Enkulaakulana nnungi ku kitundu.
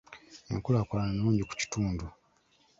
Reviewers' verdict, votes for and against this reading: accepted, 2, 0